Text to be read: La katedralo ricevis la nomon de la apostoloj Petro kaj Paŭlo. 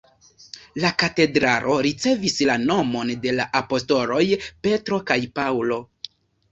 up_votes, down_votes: 2, 0